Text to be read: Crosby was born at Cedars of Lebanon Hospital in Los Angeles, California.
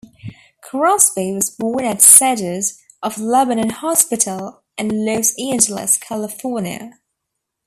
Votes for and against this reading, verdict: 1, 3, rejected